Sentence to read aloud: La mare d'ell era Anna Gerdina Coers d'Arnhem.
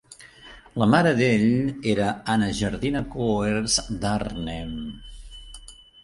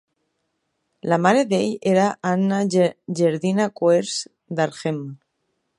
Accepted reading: first